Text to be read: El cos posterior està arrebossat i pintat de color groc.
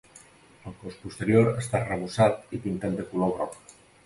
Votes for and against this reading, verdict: 0, 2, rejected